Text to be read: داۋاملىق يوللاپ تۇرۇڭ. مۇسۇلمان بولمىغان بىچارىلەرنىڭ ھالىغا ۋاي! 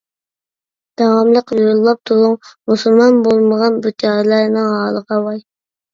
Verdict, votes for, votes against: rejected, 0, 2